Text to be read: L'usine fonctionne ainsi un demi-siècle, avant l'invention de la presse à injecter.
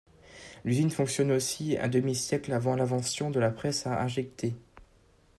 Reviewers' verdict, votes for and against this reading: rejected, 1, 2